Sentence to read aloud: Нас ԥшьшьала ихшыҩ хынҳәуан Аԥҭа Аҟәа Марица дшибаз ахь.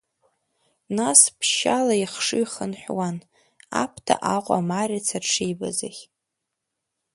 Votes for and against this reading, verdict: 2, 1, accepted